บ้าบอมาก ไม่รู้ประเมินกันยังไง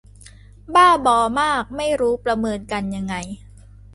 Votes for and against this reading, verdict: 2, 0, accepted